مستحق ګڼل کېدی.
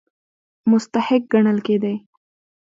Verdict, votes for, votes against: accepted, 2, 0